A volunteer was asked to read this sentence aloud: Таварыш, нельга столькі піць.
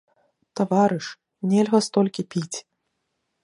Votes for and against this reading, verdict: 2, 0, accepted